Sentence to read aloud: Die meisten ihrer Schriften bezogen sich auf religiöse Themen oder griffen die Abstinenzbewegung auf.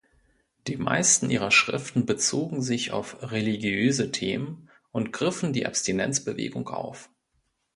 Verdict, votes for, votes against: rejected, 1, 2